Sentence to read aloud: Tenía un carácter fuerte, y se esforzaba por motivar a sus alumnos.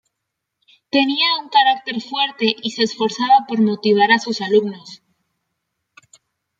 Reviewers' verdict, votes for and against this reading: accepted, 2, 0